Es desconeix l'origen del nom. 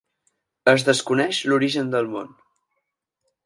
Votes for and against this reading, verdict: 0, 4, rejected